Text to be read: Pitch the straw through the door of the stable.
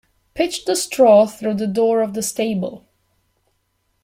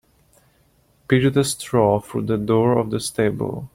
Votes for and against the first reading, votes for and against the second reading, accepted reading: 2, 0, 0, 2, first